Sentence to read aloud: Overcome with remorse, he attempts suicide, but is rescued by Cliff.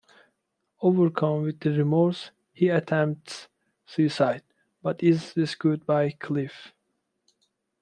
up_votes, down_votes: 2, 0